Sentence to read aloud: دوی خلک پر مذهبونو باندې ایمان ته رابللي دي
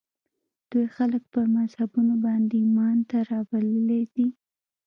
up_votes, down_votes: 1, 2